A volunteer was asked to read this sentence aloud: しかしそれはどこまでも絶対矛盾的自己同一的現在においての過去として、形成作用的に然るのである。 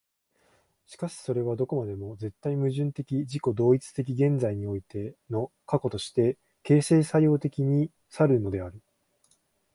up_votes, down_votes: 2, 1